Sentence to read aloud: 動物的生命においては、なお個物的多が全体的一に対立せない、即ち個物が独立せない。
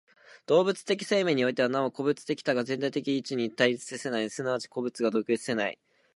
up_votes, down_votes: 2, 1